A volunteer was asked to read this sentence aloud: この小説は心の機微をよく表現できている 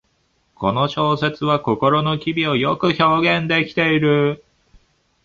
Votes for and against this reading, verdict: 2, 1, accepted